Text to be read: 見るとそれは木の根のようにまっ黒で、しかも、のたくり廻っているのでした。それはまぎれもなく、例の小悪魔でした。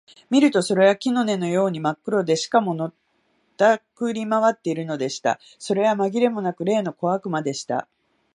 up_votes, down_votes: 0, 2